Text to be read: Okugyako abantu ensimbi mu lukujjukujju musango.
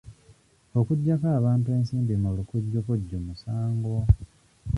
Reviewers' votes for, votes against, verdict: 0, 2, rejected